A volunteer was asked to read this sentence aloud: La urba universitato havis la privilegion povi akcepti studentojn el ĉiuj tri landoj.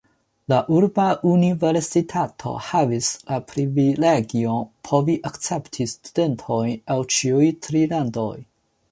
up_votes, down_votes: 2, 0